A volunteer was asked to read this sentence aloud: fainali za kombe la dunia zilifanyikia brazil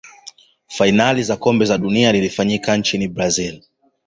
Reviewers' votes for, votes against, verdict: 1, 2, rejected